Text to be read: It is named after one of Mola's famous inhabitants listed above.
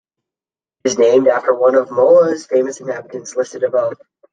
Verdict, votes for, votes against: rejected, 1, 2